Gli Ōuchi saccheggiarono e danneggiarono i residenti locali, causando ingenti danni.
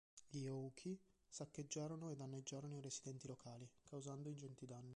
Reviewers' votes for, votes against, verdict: 2, 1, accepted